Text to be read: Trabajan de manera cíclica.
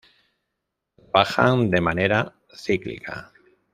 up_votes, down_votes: 0, 2